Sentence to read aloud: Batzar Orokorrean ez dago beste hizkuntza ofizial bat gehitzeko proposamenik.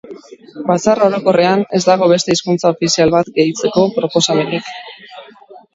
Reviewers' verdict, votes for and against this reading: rejected, 1, 2